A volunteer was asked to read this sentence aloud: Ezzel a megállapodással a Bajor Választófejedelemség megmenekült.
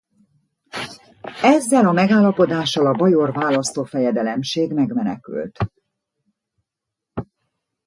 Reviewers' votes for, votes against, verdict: 0, 2, rejected